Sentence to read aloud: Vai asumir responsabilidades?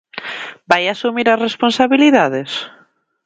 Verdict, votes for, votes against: rejected, 0, 3